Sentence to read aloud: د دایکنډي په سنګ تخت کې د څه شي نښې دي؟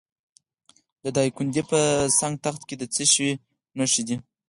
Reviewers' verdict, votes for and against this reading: accepted, 4, 0